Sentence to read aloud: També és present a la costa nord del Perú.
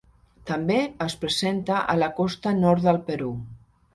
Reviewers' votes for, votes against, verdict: 0, 2, rejected